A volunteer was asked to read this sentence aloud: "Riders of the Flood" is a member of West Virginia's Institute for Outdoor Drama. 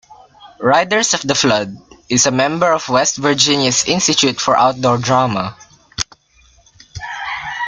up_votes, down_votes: 1, 2